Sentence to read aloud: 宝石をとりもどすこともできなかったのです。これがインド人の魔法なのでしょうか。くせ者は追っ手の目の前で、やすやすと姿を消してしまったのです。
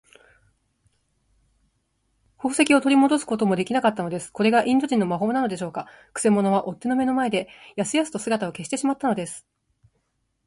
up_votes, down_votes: 2, 1